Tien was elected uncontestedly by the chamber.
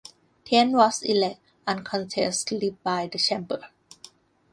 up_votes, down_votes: 1, 2